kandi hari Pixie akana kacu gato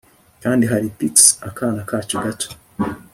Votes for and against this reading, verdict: 2, 0, accepted